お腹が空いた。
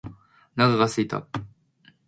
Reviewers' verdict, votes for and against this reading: accepted, 2, 0